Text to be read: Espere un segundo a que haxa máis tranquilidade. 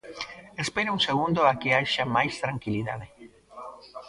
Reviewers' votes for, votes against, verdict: 0, 2, rejected